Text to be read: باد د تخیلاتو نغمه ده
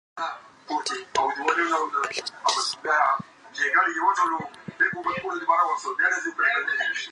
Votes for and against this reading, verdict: 0, 2, rejected